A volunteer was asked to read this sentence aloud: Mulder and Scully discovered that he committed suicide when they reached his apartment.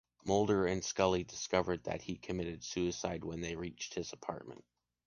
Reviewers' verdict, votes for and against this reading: accepted, 2, 0